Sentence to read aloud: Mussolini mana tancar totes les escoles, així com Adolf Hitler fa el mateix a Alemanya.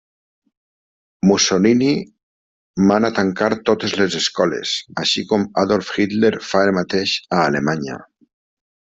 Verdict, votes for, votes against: accepted, 2, 0